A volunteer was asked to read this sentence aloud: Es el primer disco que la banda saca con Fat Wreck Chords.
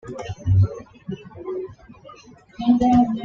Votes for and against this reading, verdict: 1, 2, rejected